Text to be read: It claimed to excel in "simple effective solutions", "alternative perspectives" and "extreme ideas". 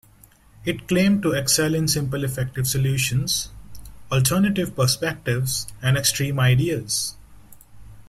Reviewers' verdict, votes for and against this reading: rejected, 1, 2